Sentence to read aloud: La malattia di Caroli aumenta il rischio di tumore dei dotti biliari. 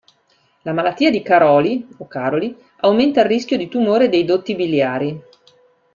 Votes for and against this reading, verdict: 1, 2, rejected